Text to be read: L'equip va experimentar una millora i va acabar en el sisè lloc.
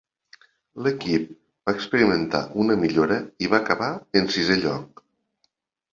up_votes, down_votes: 1, 2